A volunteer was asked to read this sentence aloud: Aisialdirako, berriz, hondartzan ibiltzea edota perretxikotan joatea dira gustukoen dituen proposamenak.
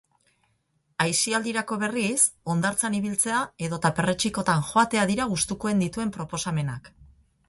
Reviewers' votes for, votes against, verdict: 4, 0, accepted